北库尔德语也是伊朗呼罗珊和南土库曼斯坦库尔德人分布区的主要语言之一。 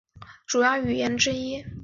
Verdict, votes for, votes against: rejected, 3, 5